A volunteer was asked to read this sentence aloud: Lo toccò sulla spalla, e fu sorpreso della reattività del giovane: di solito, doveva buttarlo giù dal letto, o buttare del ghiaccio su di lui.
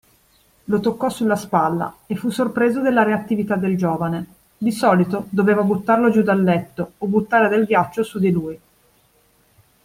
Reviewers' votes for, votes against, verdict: 2, 0, accepted